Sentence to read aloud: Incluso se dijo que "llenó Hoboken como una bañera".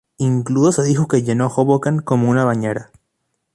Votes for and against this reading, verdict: 0, 2, rejected